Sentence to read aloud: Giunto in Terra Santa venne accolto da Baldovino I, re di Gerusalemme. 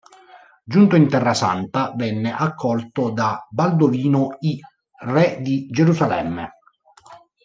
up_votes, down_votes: 0, 2